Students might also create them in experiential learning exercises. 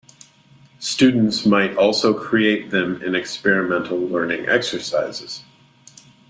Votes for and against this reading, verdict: 0, 2, rejected